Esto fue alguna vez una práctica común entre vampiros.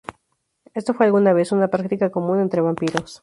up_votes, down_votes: 0, 2